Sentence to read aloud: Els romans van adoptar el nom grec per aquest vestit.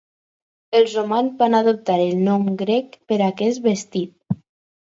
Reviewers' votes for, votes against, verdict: 4, 0, accepted